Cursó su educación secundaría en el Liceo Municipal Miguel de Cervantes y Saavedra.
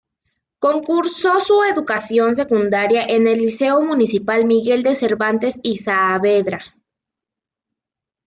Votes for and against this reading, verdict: 1, 2, rejected